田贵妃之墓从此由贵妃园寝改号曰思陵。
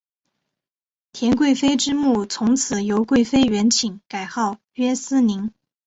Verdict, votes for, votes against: accepted, 3, 0